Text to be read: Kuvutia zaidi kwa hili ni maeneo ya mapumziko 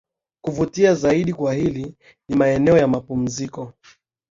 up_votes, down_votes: 0, 2